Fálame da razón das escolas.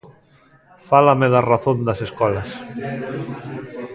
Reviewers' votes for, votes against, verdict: 1, 2, rejected